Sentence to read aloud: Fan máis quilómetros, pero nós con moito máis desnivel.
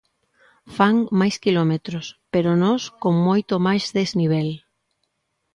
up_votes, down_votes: 2, 0